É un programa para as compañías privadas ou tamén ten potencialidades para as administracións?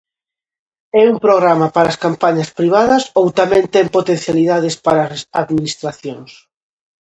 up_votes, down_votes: 0, 2